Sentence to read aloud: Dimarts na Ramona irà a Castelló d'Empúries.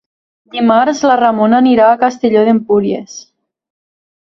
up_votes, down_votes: 2, 1